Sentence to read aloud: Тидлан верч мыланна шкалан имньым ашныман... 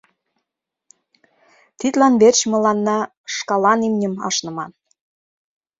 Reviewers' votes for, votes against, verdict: 2, 0, accepted